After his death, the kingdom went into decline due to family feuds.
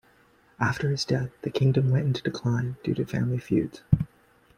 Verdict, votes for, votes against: accepted, 2, 1